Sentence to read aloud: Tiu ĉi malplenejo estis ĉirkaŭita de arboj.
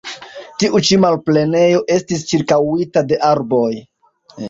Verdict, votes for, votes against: accepted, 2, 0